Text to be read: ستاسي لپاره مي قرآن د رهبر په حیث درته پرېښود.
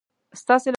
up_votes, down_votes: 0, 2